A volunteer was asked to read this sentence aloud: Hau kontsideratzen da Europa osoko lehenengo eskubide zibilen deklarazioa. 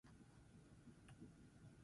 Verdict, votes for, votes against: rejected, 0, 6